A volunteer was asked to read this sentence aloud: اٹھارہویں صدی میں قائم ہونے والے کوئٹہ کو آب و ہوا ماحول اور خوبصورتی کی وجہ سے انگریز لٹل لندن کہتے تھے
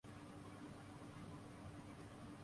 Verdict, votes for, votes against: rejected, 2, 7